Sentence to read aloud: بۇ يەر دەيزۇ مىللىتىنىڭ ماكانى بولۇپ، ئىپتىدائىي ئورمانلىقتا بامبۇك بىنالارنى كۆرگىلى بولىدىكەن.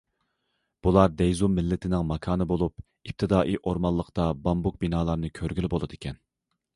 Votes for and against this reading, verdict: 0, 2, rejected